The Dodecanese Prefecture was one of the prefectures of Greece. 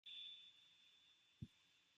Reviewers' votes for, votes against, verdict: 0, 2, rejected